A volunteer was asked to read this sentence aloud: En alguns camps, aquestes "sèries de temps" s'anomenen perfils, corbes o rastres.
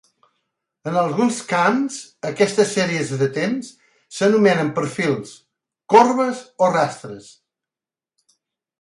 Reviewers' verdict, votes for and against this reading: accepted, 3, 0